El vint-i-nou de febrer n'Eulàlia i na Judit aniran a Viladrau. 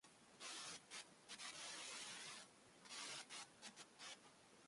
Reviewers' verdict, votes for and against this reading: rejected, 0, 2